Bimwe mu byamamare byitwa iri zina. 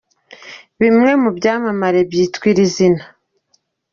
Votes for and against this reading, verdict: 2, 0, accepted